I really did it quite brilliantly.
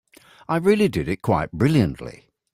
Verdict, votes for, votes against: accepted, 2, 0